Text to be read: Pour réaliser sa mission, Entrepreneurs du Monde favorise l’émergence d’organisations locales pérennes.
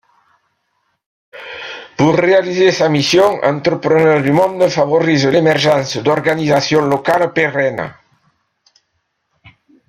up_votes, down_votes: 2, 1